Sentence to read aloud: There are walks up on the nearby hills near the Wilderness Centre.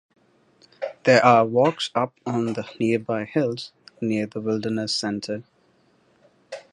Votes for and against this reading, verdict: 1, 2, rejected